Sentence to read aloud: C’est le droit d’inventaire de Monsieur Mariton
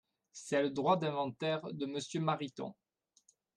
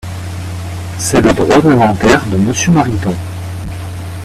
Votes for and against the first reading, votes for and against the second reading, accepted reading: 2, 0, 0, 2, first